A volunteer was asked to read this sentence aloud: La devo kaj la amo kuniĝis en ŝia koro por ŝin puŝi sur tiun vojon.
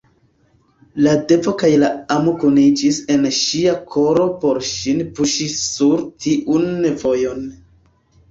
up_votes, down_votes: 2, 0